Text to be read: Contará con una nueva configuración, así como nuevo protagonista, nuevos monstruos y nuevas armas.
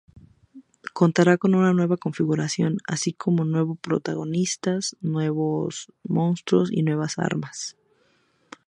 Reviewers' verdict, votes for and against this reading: accepted, 2, 0